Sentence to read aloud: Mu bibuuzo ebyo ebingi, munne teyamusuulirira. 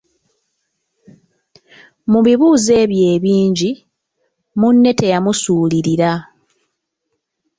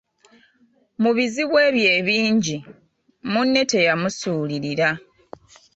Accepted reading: first